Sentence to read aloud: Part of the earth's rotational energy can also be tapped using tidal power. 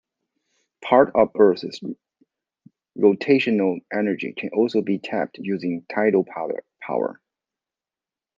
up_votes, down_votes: 1, 2